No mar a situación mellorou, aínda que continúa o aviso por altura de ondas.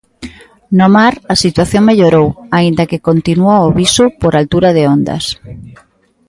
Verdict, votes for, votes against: accepted, 2, 1